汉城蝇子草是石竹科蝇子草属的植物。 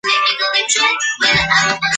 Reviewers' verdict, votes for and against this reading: rejected, 0, 2